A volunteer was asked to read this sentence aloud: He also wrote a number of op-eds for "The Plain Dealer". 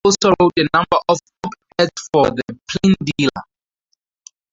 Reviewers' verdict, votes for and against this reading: rejected, 0, 2